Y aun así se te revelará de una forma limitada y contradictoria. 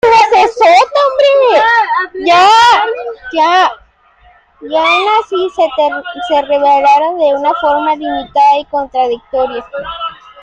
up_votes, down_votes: 0, 2